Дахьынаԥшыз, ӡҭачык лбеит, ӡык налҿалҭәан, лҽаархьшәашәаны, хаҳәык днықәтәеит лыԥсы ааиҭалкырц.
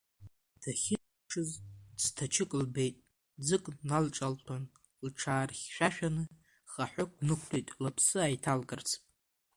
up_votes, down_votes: 1, 2